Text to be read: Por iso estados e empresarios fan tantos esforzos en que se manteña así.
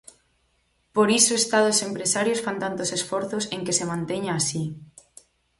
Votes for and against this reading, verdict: 4, 0, accepted